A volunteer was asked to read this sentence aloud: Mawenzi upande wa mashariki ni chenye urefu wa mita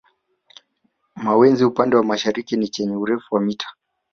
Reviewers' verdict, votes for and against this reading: rejected, 1, 2